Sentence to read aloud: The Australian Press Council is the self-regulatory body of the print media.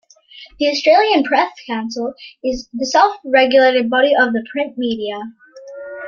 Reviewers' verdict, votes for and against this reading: accepted, 2, 1